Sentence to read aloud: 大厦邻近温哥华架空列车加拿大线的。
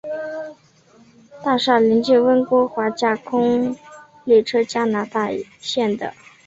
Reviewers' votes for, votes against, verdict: 2, 0, accepted